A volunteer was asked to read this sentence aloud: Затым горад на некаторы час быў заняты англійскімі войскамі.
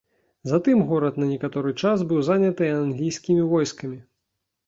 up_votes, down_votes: 2, 1